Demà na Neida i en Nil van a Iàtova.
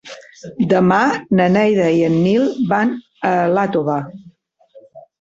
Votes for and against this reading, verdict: 1, 2, rejected